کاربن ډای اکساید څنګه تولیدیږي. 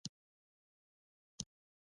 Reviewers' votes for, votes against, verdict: 0, 2, rejected